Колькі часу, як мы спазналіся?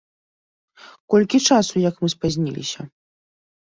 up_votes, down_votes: 0, 2